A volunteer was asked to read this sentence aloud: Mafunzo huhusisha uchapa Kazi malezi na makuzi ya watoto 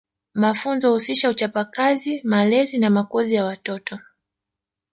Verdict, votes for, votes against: rejected, 1, 2